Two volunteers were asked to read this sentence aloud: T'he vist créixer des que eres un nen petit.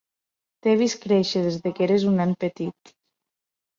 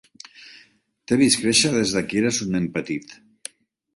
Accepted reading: second